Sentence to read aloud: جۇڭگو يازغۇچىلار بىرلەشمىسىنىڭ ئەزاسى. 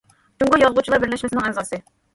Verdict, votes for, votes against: rejected, 1, 2